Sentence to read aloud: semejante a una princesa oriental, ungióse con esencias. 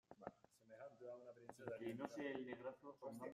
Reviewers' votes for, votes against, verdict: 0, 2, rejected